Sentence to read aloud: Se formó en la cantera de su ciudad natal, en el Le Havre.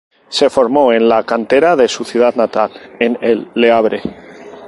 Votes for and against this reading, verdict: 0, 2, rejected